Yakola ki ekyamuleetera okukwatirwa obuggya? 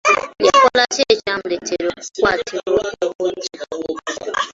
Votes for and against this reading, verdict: 1, 2, rejected